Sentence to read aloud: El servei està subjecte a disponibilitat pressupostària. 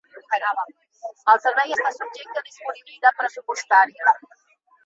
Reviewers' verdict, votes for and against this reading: accepted, 2, 1